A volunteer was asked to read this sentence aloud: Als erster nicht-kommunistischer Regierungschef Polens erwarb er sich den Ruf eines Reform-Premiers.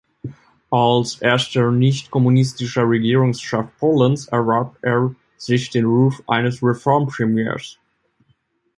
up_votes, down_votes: 1, 2